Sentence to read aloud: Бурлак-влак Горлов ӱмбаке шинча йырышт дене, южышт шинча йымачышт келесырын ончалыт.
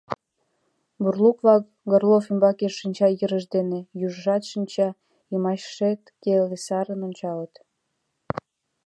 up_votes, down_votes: 1, 2